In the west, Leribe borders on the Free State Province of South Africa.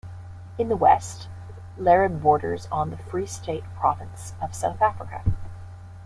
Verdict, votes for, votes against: accepted, 2, 1